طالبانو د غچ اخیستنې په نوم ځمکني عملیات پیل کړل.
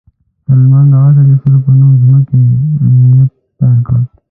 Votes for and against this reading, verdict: 1, 2, rejected